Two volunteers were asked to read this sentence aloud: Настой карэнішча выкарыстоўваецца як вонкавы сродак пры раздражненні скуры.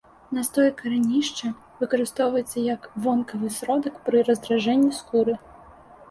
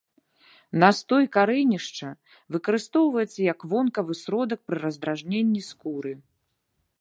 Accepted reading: second